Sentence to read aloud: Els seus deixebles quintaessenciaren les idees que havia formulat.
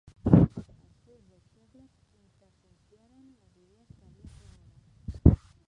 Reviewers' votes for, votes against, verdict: 1, 2, rejected